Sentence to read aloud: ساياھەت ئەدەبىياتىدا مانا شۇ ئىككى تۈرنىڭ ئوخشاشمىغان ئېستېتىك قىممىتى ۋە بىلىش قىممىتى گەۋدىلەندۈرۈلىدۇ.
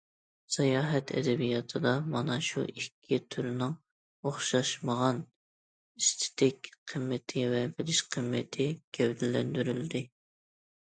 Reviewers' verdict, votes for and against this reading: rejected, 1, 2